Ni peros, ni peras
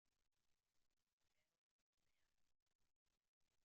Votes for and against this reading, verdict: 0, 2, rejected